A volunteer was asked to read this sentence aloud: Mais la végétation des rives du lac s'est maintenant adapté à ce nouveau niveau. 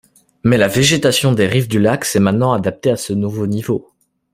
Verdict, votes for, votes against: accepted, 2, 0